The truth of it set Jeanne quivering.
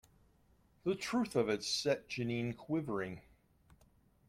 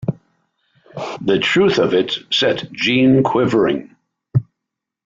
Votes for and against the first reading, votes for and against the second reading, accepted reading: 0, 2, 2, 0, second